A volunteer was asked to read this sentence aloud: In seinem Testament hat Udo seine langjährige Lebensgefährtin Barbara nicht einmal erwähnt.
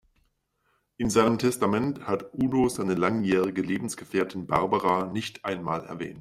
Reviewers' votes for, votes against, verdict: 0, 2, rejected